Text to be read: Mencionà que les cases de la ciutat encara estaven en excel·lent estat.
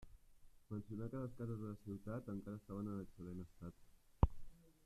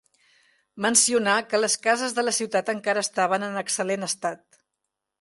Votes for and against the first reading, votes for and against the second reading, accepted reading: 0, 2, 2, 0, second